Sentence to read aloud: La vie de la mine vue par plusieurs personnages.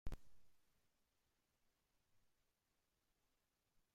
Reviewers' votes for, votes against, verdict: 0, 2, rejected